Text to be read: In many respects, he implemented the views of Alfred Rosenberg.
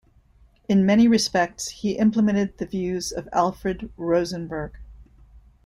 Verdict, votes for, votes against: accepted, 2, 0